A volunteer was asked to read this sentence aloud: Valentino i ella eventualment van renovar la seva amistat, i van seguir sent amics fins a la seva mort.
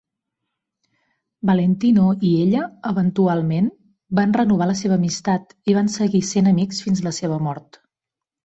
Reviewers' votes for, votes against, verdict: 0, 2, rejected